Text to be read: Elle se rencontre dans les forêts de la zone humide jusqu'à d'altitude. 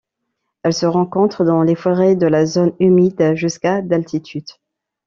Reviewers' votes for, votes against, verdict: 2, 1, accepted